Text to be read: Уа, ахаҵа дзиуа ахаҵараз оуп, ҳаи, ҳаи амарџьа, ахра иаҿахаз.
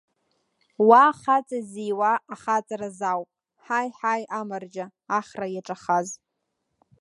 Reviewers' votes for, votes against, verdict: 1, 2, rejected